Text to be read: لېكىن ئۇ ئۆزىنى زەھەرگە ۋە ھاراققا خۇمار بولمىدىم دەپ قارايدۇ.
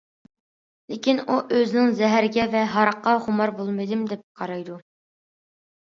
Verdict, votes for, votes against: accepted, 2, 1